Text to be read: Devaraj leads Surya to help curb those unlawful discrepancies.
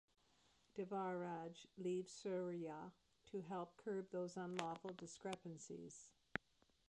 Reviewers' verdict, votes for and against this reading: rejected, 0, 2